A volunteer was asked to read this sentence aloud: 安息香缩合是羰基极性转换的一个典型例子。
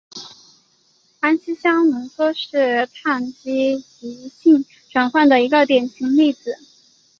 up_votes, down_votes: 3, 1